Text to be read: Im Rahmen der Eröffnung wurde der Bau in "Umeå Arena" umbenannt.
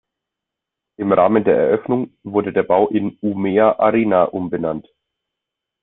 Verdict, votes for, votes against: accepted, 2, 0